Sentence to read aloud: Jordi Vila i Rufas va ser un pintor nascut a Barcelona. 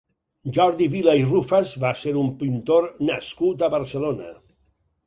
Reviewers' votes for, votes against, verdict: 4, 0, accepted